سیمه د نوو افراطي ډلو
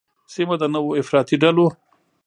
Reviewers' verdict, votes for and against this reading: accepted, 2, 0